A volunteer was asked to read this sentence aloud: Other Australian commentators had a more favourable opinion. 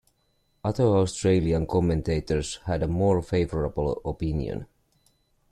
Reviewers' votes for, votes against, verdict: 2, 0, accepted